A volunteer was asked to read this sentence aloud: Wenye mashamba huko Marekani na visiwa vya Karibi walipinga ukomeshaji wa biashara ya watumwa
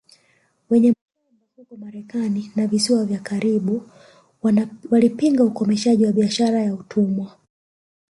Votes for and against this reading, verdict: 1, 2, rejected